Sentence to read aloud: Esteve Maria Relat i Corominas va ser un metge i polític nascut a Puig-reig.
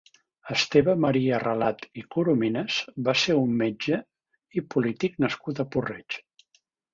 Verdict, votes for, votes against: rejected, 1, 2